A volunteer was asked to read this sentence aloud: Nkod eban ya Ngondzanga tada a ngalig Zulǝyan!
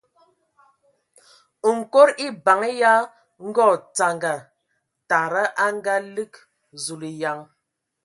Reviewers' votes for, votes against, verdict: 2, 0, accepted